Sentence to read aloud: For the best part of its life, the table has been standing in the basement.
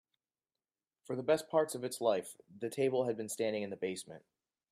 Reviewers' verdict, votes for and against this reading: rejected, 1, 2